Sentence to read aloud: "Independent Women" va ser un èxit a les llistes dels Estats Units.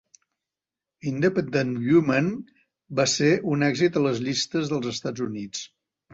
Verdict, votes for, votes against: rejected, 1, 2